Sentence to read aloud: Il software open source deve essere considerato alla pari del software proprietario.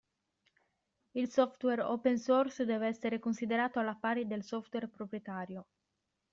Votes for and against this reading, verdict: 2, 0, accepted